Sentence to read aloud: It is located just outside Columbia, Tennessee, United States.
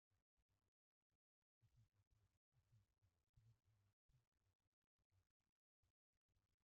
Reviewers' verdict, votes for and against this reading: rejected, 0, 2